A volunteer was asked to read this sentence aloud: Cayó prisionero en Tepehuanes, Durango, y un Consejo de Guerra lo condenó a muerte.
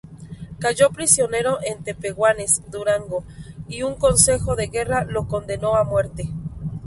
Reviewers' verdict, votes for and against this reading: accepted, 2, 0